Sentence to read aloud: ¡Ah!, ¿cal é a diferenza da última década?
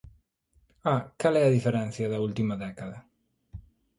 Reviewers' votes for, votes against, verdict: 1, 2, rejected